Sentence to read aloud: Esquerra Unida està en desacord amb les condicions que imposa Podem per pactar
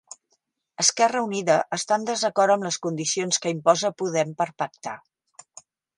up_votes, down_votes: 3, 0